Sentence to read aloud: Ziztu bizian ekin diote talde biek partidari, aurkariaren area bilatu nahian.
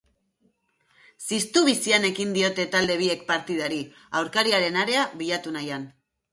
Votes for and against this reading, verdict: 4, 0, accepted